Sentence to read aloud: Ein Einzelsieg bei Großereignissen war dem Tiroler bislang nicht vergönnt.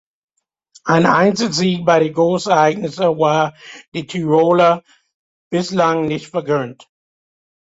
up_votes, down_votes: 1, 2